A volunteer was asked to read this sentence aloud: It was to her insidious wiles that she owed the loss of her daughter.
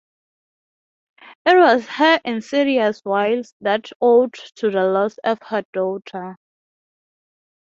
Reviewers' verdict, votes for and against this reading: rejected, 0, 6